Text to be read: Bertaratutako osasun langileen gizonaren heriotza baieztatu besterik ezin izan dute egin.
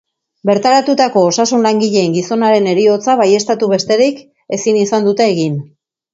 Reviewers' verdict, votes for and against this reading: accepted, 2, 0